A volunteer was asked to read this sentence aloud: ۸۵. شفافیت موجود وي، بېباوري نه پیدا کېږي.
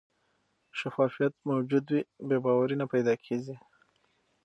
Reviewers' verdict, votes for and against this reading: rejected, 0, 2